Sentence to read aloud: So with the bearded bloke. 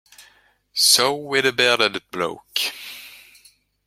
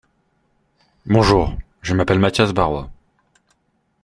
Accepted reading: first